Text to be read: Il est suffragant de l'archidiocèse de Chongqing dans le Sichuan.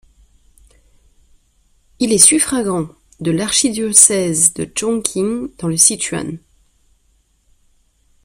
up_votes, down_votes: 2, 0